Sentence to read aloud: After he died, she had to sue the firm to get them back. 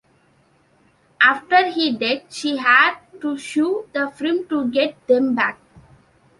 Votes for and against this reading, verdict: 1, 2, rejected